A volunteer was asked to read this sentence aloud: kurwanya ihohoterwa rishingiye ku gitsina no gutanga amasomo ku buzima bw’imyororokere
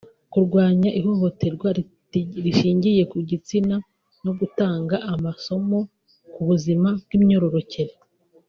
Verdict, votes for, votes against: rejected, 0, 2